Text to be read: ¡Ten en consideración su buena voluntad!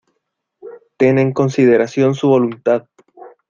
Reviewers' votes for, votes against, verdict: 0, 2, rejected